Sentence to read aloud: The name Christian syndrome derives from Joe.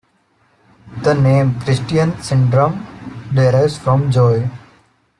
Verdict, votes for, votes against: rejected, 0, 2